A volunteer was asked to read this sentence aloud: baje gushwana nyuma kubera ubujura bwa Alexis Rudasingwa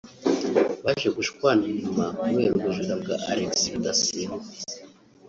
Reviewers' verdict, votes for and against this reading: accepted, 2, 0